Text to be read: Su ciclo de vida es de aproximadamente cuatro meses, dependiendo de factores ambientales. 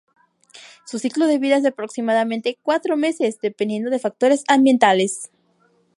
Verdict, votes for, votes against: accepted, 2, 0